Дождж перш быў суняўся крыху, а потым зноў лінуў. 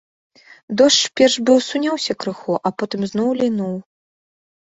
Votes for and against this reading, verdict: 2, 0, accepted